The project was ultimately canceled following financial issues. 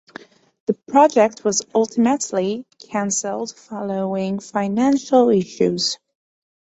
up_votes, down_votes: 2, 0